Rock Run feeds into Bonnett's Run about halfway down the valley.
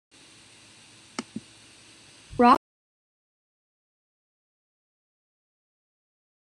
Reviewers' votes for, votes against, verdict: 0, 2, rejected